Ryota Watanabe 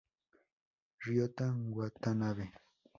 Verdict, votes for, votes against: rejected, 0, 2